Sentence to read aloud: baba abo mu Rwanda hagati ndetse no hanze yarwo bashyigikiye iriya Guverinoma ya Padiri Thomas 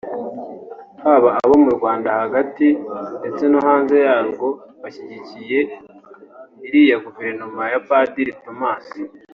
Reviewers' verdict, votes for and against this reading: accepted, 3, 1